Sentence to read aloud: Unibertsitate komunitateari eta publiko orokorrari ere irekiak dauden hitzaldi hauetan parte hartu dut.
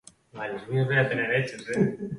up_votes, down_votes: 0, 2